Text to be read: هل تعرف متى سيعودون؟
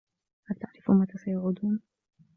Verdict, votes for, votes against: rejected, 0, 2